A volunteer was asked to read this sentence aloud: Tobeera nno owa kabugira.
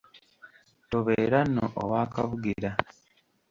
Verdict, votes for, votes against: accepted, 2, 1